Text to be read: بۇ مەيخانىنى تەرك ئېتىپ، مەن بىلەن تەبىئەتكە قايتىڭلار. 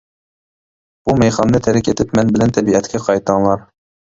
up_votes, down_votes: 1, 2